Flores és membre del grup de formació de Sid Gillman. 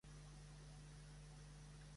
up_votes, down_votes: 0, 2